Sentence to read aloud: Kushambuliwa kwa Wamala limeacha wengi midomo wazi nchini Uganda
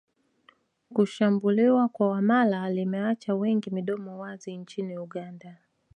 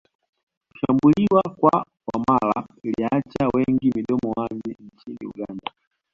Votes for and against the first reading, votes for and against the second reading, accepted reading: 2, 1, 1, 2, first